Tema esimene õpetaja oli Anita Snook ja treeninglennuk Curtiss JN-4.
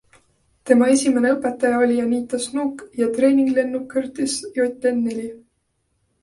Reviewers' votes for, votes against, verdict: 0, 2, rejected